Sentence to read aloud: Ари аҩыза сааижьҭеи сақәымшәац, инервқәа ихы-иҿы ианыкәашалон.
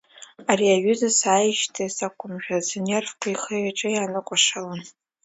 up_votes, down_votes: 2, 0